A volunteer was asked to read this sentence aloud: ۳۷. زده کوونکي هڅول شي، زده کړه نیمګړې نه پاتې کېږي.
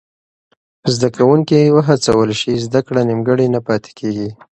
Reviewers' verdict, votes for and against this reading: rejected, 0, 2